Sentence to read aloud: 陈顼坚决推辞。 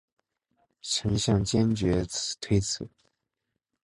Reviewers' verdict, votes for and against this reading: accepted, 4, 0